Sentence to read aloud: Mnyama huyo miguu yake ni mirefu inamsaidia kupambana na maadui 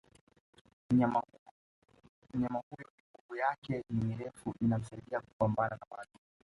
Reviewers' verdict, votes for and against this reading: accepted, 2, 1